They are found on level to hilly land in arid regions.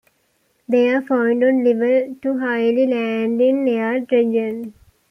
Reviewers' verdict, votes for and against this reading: rejected, 0, 2